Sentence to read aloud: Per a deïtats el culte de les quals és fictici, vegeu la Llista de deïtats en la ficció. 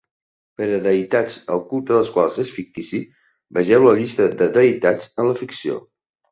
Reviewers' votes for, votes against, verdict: 3, 0, accepted